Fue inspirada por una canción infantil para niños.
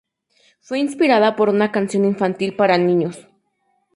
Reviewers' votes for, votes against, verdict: 2, 0, accepted